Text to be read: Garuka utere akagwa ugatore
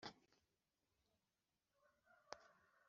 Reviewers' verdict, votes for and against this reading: rejected, 0, 2